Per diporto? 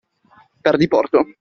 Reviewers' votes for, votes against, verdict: 2, 0, accepted